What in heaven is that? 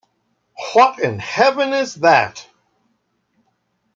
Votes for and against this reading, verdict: 1, 2, rejected